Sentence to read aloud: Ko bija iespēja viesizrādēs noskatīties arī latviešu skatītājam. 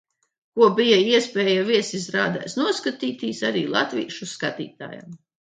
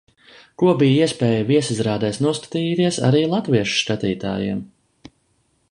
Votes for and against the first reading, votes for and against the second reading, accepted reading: 2, 1, 0, 2, first